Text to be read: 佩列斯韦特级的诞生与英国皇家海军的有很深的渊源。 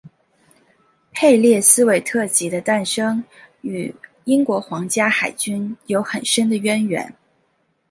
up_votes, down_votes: 2, 0